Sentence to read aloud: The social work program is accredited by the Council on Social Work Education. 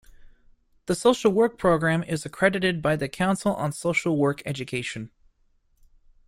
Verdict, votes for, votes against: accepted, 2, 0